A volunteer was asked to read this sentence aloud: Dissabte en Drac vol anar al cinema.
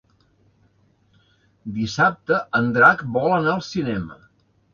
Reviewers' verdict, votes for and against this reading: accepted, 3, 0